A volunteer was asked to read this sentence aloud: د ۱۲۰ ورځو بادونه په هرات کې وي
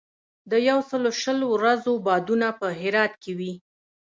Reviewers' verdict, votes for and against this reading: rejected, 0, 2